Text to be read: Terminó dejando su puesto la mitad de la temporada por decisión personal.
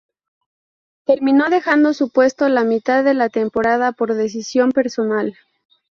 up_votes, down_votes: 2, 0